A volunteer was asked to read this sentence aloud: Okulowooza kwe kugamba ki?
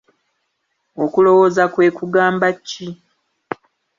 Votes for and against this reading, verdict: 2, 0, accepted